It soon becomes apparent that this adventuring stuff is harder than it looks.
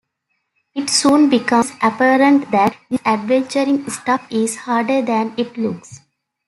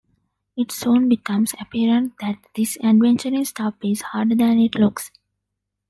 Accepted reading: second